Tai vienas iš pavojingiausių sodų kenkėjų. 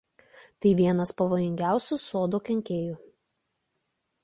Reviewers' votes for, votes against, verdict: 1, 2, rejected